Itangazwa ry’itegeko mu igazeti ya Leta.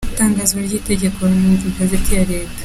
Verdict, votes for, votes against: accepted, 2, 1